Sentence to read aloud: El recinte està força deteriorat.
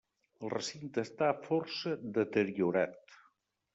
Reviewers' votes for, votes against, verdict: 2, 0, accepted